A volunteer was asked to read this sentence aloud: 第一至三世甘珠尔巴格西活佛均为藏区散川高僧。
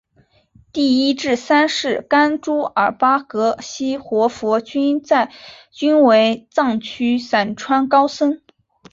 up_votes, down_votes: 0, 2